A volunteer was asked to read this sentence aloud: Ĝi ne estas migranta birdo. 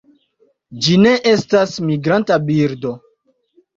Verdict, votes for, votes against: accepted, 2, 0